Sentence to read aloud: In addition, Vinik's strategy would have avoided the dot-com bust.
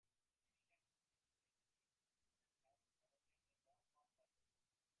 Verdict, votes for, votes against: rejected, 0, 2